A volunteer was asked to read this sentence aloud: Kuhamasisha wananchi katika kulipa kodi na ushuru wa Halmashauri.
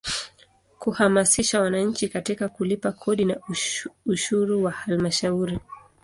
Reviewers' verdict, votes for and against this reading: accepted, 2, 1